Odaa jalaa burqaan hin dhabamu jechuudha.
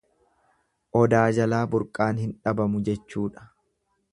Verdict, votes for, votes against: accepted, 2, 0